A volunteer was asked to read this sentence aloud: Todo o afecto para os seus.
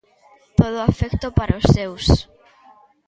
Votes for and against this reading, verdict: 2, 0, accepted